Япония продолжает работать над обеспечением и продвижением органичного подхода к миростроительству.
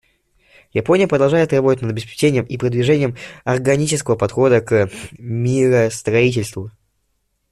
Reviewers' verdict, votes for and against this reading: rejected, 1, 2